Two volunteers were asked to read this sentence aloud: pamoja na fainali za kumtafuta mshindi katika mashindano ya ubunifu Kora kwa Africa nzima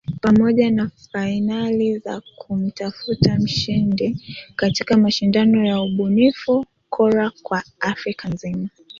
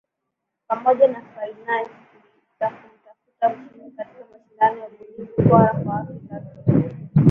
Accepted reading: first